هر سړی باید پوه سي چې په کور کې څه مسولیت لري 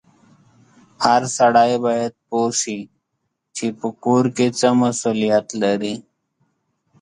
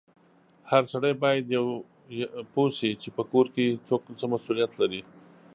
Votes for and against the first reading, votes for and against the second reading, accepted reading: 2, 1, 1, 2, first